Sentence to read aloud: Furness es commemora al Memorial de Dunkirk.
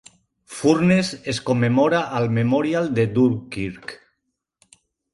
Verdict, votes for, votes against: accepted, 2, 0